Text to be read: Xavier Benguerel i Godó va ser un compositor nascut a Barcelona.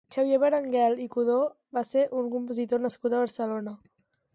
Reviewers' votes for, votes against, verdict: 2, 2, rejected